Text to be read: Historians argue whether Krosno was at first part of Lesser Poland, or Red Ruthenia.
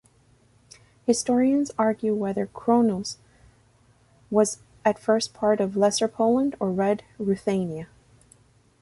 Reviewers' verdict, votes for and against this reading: rejected, 1, 2